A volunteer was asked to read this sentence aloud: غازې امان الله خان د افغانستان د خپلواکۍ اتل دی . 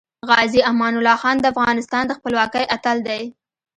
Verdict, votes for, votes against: rejected, 0, 2